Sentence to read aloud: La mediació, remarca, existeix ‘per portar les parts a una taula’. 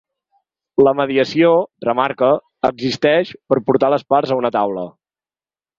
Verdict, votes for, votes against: accepted, 2, 0